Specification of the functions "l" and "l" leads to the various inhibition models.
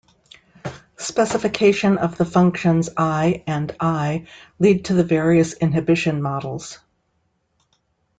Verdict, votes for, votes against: rejected, 1, 2